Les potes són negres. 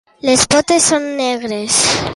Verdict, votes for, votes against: accepted, 2, 0